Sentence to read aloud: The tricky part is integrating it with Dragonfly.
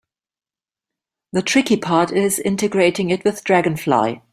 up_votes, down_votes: 2, 0